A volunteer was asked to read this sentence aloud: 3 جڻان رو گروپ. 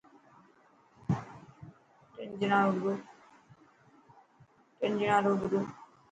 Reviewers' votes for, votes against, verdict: 0, 2, rejected